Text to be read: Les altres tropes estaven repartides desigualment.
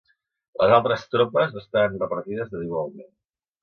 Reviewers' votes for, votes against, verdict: 1, 2, rejected